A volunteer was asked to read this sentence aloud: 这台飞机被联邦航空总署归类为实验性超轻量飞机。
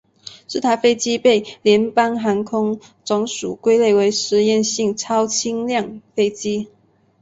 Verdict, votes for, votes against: accepted, 2, 0